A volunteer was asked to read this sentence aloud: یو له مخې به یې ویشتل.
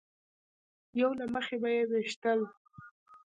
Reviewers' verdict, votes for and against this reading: accepted, 2, 0